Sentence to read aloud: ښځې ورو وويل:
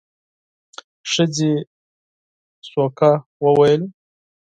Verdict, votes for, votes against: accepted, 4, 0